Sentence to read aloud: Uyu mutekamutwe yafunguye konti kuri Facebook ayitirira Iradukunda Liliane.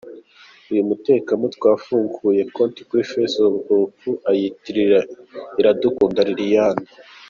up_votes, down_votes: 2, 0